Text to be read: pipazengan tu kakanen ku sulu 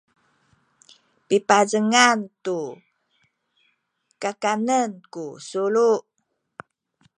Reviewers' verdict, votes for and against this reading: accepted, 2, 0